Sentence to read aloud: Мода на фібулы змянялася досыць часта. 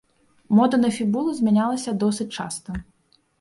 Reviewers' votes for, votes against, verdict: 1, 2, rejected